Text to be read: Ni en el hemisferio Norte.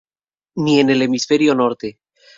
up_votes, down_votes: 2, 0